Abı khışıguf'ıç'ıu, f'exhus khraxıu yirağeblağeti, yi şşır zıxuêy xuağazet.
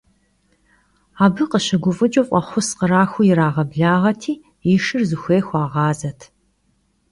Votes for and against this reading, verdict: 2, 0, accepted